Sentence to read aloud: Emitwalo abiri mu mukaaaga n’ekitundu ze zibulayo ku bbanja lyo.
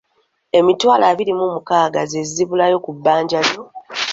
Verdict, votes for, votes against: accepted, 3, 0